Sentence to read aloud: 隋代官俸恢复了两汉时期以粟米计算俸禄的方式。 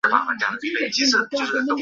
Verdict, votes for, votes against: rejected, 1, 2